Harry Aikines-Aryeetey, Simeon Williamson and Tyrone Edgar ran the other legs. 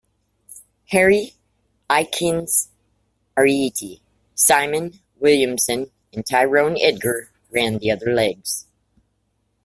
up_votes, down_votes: 1, 2